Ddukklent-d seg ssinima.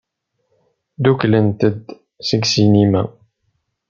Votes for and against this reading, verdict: 2, 0, accepted